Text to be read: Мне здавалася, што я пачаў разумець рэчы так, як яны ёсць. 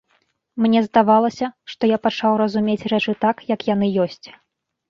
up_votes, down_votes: 2, 0